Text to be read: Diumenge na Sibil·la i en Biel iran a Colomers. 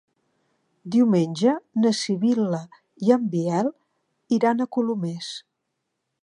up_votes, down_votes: 2, 1